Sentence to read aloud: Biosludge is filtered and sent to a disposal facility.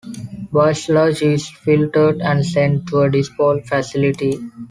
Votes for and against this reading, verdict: 1, 2, rejected